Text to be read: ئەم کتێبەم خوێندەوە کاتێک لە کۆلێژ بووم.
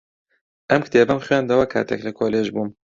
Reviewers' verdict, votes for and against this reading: accepted, 2, 0